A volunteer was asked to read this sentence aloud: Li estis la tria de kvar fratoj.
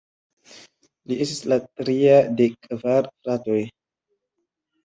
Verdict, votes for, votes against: rejected, 1, 2